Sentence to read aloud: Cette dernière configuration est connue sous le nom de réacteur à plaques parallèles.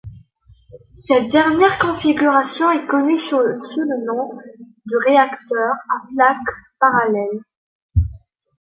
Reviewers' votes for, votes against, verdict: 1, 2, rejected